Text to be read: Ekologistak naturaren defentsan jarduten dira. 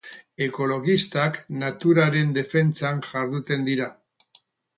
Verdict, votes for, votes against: accepted, 4, 0